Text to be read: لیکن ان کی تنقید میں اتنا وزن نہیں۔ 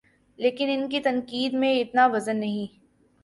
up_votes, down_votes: 3, 0